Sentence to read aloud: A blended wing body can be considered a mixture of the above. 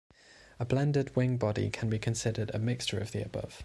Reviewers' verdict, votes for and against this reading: accepted, 2, 0